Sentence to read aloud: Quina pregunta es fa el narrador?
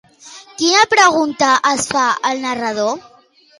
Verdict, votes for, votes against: accepted, 2, 0